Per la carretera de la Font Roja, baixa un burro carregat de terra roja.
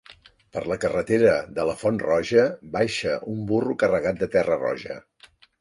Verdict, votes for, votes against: accepted, 5, 0